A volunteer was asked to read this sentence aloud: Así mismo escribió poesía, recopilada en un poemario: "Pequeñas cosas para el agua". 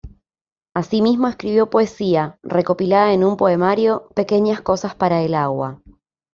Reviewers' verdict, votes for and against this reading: accepted, 2, 0